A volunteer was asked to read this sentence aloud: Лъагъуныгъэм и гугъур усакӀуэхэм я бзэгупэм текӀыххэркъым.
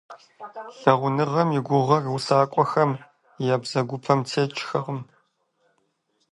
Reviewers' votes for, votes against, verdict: 0, 2, rejected